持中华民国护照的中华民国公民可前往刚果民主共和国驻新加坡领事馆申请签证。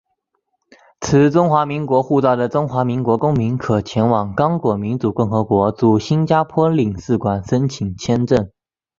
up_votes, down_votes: 2, 1